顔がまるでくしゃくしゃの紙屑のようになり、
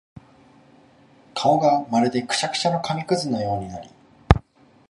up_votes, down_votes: 2, 0